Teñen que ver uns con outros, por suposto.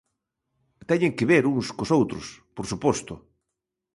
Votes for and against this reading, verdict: 1, 2, rejected